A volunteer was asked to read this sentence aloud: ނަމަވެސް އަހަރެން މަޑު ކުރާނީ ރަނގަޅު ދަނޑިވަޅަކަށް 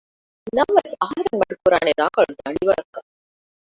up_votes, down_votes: 0, 2